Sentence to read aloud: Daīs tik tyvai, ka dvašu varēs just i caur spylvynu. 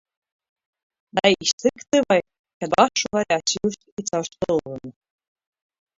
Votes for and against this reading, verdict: 0, 2, rejected